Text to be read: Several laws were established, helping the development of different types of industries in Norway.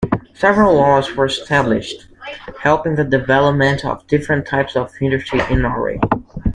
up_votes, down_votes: 1, 2